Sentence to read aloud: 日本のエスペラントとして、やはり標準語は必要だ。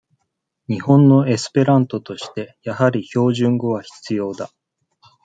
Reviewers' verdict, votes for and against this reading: accepted, 2, 0